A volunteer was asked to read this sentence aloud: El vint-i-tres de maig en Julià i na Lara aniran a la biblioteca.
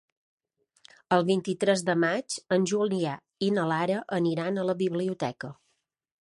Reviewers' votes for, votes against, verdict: 2, 0, accepted